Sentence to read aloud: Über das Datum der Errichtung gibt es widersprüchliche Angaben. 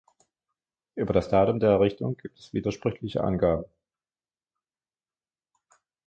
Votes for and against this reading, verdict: 2, 1, accepted